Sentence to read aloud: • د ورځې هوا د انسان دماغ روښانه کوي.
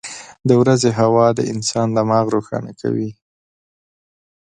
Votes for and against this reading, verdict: 2, 0, accepted